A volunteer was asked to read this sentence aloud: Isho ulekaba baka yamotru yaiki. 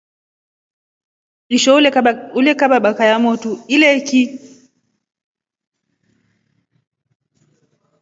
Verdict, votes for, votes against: rejected, 1, 2